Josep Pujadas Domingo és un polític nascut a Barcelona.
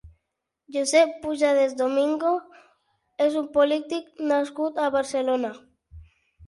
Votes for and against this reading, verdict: 6, 0, accepted